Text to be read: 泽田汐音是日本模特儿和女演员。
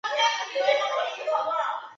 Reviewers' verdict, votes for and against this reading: rejected, 0, 2